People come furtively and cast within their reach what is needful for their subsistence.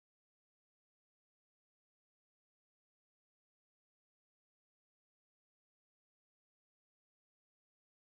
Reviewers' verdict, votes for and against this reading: rejected, 0, 2